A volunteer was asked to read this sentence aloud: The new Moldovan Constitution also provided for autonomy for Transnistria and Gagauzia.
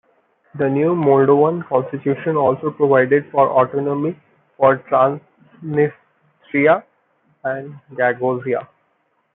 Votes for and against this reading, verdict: 0, 2, rejected